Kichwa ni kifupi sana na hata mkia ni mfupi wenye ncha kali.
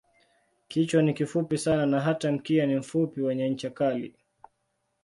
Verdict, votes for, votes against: accepted, 2, 1